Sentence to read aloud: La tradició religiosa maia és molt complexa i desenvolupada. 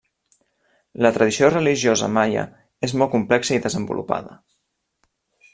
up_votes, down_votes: 2, 0